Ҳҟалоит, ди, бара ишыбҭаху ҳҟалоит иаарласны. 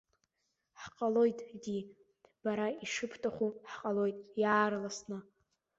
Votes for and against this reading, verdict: 2, 0, accepted